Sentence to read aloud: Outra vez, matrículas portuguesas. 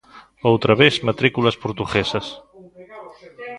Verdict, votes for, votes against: rejected, 1, 2